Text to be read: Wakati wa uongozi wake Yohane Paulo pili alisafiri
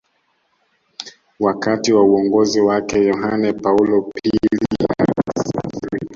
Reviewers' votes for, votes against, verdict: 0, 2, rejected